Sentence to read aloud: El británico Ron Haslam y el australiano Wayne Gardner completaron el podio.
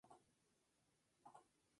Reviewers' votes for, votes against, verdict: 0, 2, rejected